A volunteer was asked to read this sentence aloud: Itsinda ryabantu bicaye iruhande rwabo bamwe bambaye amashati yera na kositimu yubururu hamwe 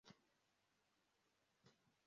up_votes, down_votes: 0, 2